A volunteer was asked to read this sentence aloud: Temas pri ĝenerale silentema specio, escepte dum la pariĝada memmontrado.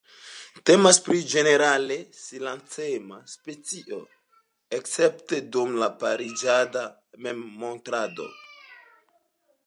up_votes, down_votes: 3, 0